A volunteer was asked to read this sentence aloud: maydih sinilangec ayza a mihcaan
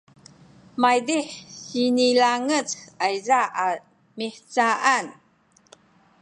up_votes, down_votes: 2, 1